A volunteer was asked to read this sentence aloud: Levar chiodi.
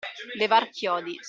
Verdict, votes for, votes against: accepted, 2, 1